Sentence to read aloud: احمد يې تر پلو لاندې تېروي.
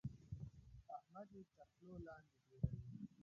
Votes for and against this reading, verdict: 0, 2, rejected